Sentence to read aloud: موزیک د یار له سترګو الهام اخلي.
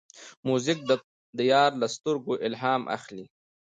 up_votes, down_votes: 2, 0